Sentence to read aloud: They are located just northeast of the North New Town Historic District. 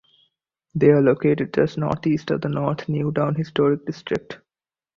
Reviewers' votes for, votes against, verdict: 2, 0, accepted